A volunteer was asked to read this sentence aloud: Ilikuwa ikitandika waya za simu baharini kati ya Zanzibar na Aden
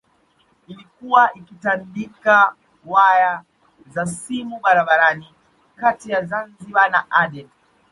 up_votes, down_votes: 1, 2